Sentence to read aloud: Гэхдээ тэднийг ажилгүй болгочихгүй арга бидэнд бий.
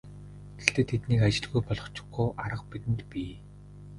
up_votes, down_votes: 2, 0